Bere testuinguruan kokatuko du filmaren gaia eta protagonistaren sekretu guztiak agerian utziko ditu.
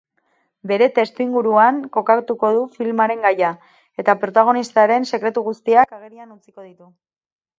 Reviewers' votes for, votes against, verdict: 4, 0, accepted